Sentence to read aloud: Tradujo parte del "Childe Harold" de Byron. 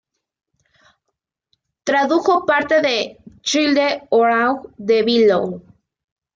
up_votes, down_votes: 1, 2